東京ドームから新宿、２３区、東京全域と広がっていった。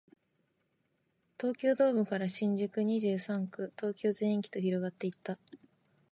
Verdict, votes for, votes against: rejected, 0, 2